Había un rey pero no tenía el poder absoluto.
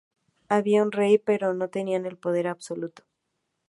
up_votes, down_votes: 0, 4